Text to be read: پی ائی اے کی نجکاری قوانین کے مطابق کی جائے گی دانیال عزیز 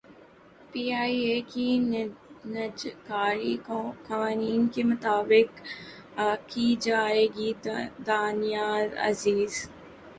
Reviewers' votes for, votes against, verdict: 2, 2, rejected